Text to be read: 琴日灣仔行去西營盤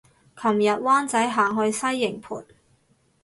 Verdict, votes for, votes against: accepted, 4, 0